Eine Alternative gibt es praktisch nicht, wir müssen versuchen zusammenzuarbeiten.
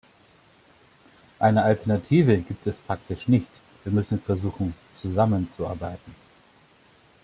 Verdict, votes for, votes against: accepted, 2, 0